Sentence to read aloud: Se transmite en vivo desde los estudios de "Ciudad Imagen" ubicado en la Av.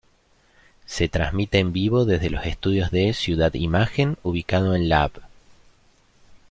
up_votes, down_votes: 2, 0